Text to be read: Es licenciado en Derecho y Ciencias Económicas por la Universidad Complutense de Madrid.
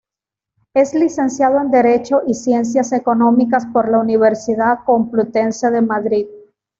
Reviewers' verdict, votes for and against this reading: accepted, 2, 0